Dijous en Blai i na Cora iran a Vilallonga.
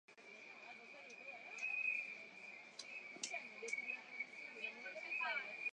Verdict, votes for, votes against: rejected, 0, 2